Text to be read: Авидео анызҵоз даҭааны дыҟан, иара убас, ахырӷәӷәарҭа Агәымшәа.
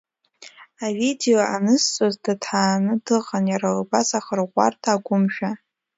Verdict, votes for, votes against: accepted, 2, 0